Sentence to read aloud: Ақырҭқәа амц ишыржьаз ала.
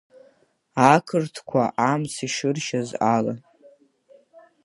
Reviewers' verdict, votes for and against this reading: accepted, 3, 0